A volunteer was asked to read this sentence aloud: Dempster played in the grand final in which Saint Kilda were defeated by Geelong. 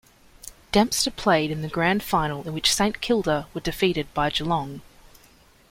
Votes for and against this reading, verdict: 2, 0, accepted